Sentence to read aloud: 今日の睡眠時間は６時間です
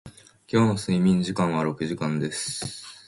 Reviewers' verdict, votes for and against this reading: rejected, 0, 2